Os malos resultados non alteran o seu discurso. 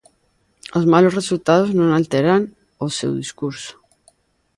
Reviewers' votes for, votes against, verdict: 2, 0, accepted